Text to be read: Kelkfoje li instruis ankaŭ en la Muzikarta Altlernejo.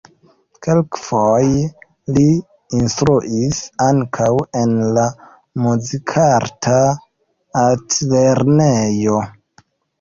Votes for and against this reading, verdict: 1, 2, rejected